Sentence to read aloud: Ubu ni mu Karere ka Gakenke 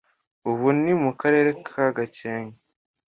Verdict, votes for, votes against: accepted, 2, 0